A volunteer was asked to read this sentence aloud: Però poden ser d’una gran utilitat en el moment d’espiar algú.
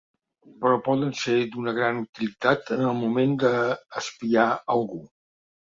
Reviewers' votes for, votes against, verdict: 0, 4, rejected